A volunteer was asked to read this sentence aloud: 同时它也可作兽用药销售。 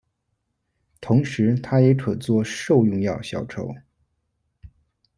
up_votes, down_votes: 1, 2